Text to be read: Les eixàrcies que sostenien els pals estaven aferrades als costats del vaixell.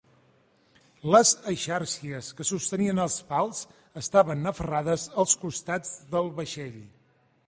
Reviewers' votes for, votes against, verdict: 2, 0, accepted